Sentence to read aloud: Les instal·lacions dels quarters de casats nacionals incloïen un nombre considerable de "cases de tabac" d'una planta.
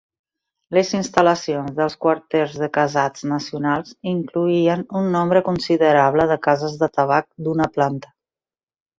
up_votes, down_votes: 2, 0